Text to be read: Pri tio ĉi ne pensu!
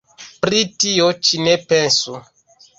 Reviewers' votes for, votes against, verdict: 1, 2, rejected